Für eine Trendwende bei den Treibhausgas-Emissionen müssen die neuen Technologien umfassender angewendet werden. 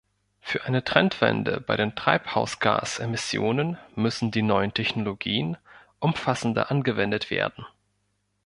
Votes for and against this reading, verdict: 2, 0, accepted